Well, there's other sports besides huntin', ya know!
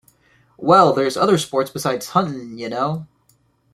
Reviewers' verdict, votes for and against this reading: accepted, 2, 0